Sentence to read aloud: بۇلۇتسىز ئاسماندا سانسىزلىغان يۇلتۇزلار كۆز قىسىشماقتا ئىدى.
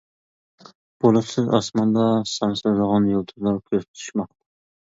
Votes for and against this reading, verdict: 0, 2, rejected